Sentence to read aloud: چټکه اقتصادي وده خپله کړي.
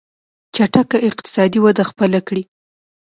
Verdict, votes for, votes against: accepted, 2, 0